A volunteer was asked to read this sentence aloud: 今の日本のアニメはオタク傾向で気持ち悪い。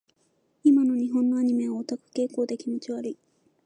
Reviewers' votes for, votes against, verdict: 2, 0, accepted